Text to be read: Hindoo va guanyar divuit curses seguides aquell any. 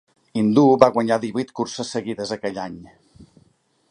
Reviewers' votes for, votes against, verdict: 2, 1, accepted